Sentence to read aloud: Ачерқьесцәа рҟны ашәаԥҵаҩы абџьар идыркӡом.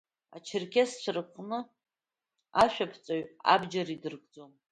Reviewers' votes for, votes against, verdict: 0, 2, rejected